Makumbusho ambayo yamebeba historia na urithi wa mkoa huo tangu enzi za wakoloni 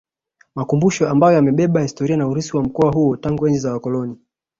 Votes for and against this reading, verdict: 2, 1, accepted